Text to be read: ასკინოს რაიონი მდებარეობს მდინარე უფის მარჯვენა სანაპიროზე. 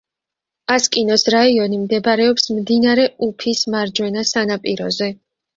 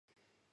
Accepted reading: first